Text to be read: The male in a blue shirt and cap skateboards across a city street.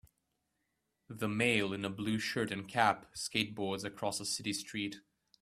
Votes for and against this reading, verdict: 2, 0, accepted